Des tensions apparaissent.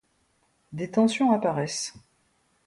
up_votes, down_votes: 2, 0